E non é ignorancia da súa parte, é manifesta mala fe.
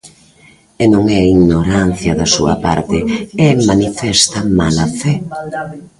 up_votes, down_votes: 1, 2